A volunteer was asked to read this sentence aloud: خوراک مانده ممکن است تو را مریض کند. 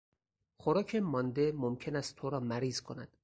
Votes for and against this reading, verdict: 4, 0, accepted